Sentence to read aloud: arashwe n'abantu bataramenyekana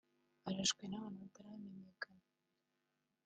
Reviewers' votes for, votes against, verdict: 3, 1, accepted